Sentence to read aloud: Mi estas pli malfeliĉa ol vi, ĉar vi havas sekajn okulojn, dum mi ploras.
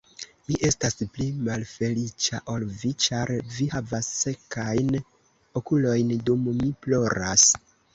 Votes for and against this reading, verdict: 2, 1, accepted